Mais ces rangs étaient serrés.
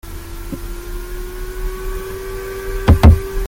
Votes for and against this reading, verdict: 0, 2, rejected